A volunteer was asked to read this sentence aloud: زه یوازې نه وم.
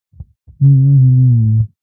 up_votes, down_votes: 0, 2